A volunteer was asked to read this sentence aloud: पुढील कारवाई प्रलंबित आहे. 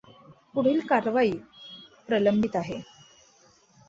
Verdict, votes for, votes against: accepted, 2, 1